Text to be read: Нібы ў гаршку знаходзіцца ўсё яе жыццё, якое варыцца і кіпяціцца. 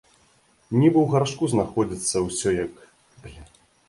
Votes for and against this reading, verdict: 0, 2, rejected